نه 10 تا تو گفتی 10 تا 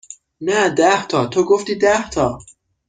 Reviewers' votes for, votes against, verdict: 0, 2, rejected